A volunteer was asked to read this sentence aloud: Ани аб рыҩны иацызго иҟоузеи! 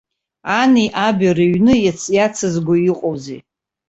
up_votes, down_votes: 0, 2